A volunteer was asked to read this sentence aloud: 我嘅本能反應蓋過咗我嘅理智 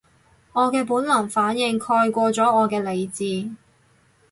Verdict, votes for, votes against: accepted, 4, 0